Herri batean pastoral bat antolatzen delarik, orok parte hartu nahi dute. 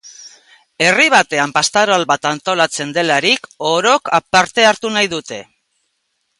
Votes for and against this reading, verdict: 2, 1, accepted